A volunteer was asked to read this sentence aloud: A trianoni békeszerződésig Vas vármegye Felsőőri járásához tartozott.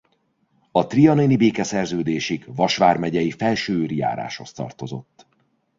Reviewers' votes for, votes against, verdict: 0, 2, rejected